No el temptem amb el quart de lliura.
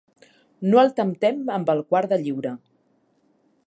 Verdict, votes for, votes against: accepted, 6, 0